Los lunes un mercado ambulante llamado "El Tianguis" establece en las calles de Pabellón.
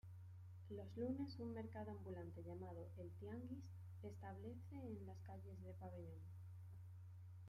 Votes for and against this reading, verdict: 2, 1, accepted